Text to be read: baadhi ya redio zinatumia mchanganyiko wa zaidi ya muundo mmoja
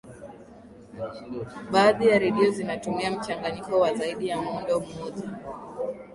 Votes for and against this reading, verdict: 2, 0, accepted